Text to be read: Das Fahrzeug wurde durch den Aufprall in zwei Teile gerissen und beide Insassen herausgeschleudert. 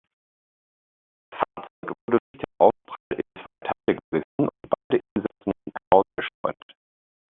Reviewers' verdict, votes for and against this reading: rejected, 0, 2